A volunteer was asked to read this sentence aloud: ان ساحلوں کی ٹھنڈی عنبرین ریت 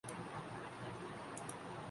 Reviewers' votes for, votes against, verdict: 1, 2, rejected